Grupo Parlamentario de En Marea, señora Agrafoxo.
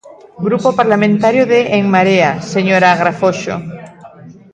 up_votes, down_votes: 2, 0